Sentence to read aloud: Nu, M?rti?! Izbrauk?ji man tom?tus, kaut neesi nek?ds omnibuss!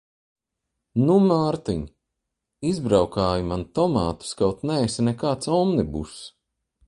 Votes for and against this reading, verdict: 1, 2, rejected